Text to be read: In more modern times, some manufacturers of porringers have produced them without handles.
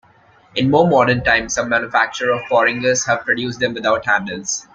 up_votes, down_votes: 3, 2